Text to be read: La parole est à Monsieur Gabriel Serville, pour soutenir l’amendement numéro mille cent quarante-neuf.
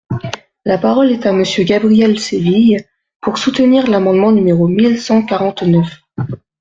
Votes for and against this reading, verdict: 0, 2, rejected